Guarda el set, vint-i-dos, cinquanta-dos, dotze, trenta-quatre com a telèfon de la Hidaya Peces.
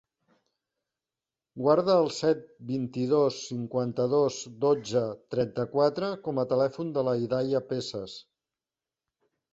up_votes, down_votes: 2, 1